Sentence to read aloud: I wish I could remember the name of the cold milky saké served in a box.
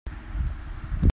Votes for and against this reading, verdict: 0, 2, rejected